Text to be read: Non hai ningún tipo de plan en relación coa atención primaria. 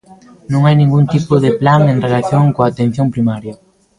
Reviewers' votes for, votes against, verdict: 1, 2, rejected